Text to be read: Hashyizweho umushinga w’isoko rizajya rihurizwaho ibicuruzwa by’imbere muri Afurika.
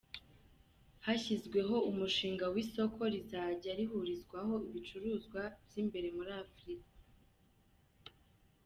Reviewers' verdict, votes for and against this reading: rejected, 1, 2